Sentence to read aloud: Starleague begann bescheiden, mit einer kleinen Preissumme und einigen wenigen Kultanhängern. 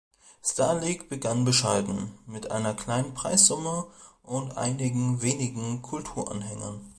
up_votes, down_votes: 1, 2